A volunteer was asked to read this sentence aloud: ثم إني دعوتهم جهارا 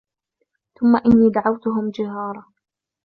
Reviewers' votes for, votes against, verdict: 2, 0, accepted